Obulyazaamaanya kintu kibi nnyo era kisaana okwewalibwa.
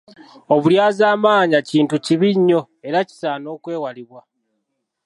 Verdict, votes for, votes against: accepted, 2, 0